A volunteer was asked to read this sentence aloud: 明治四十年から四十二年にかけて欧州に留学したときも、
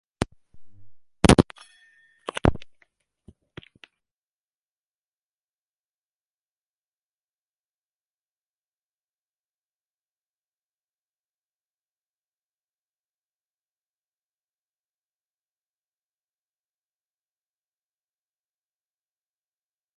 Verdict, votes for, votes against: rejected, 0, 2